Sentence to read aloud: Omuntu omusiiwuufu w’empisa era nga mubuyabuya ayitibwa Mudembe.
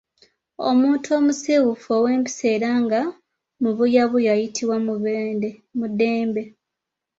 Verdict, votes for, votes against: rejected, 0, 2